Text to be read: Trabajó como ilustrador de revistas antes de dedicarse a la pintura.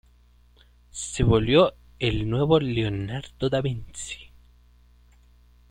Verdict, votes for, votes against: rejected, 0, 2